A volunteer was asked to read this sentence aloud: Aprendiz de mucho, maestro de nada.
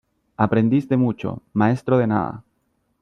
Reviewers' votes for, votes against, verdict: 2, 0, accepted